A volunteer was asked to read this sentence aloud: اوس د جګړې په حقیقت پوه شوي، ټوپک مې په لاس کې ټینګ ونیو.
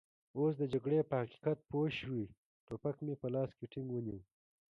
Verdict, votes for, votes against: rejected, 1, 2